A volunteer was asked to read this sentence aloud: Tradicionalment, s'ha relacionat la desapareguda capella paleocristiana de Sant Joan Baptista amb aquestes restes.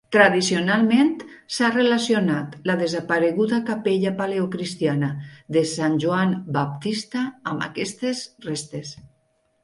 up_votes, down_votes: 2, 0